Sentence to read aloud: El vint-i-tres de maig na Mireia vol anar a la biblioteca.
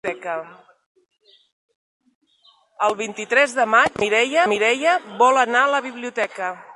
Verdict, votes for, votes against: rejected, 0, 3